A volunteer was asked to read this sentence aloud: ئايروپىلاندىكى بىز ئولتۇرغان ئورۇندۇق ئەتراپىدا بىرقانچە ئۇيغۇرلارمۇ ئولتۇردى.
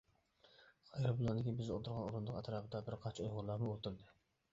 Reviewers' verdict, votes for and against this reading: rejected, 1, 2